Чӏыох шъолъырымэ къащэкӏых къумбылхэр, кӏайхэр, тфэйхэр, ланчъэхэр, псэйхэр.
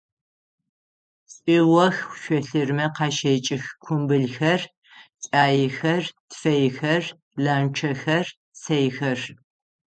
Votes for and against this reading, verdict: 3, 6, rejected